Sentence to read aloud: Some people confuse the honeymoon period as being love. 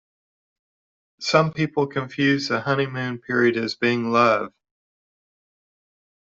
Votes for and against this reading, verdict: 2, 0, accepted